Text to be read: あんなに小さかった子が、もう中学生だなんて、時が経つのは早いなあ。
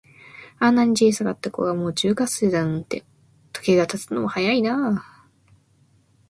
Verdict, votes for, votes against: accepted, 2, 1